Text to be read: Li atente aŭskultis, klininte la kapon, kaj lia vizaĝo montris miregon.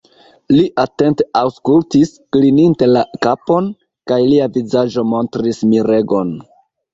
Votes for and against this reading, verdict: 2, 0, accepted